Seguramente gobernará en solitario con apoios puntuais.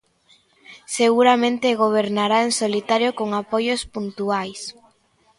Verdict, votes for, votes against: accepted, 2, 0